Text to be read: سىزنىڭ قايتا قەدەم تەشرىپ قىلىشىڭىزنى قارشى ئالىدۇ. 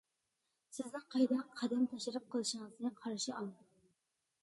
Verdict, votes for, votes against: rejected, 0, 2